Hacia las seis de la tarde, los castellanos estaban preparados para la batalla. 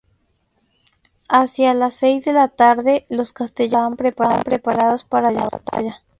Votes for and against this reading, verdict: 0, 2, rejected